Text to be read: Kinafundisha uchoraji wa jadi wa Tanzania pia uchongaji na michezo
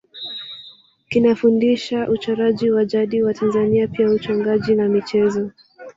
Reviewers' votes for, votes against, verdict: 1, 2, rejected